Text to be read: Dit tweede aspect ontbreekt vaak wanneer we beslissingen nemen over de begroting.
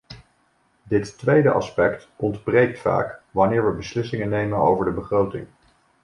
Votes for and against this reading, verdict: 1, 2, rejected